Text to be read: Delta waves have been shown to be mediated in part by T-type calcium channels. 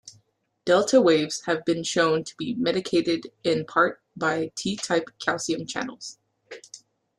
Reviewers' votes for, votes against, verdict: 0, 2, rejected